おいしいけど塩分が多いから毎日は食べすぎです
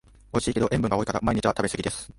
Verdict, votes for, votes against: accepted, 2, 0